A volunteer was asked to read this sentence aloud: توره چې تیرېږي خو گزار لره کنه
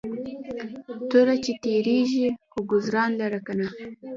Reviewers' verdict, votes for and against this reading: accepted, 2, 1